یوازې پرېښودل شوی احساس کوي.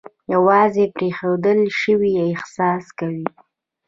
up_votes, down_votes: 0, 2